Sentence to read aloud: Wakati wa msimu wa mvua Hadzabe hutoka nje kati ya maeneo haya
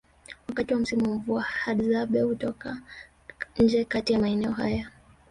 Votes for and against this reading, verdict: 1, 2, rejected